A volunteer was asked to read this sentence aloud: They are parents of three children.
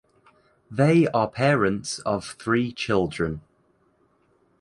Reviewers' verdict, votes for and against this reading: accepted, 2, 1